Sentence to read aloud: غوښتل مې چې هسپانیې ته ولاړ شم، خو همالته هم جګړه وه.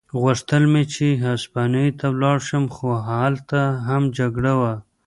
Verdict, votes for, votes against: rejected, 1, 2